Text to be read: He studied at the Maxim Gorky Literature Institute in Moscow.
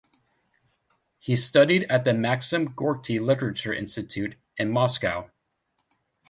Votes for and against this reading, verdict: 1, 2, rejected